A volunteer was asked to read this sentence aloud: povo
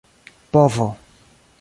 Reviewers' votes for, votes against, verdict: 0, 2, rejected